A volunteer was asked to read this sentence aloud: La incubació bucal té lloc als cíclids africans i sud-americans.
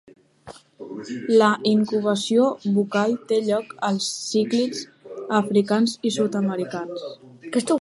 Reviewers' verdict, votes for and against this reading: accepted, 2, 1